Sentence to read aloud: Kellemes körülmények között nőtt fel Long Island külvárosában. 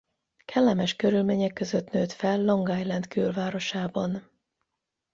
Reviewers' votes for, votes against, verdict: 8, 0, accepted